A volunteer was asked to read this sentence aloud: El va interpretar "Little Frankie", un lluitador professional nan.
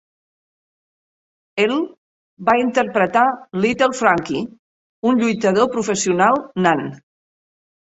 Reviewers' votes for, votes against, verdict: 1, 2, rejected